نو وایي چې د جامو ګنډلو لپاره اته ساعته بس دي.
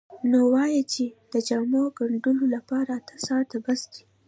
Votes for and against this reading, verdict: 2, 0, accepted